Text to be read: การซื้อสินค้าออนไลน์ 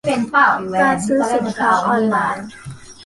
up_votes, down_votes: 1, 2